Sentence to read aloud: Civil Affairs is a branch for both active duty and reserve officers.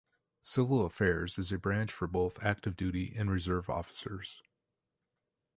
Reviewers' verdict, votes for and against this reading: accepted, 2, 0